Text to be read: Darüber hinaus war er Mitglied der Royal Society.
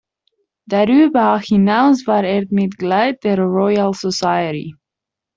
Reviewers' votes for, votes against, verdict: 0, 2, rejected